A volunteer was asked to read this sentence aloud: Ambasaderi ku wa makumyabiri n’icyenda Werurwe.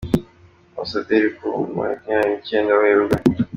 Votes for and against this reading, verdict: 2, 0, accepted